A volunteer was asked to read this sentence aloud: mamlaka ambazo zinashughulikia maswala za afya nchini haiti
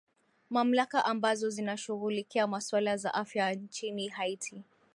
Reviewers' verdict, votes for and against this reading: rejected, 0, 2